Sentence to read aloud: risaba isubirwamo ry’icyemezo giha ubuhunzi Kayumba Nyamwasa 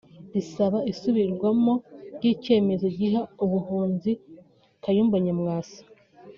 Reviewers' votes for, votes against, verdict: 3, 0, accepted